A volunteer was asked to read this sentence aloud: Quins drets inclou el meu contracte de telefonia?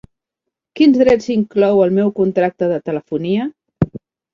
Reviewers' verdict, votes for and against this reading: accepted, 7, 0